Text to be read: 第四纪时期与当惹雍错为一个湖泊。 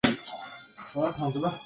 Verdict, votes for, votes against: rejected, 2, 4